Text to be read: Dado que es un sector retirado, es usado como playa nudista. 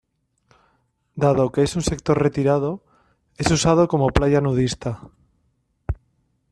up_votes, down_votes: 2, 0